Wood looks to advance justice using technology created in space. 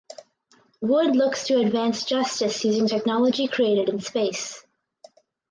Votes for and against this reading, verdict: 4, 0, accepted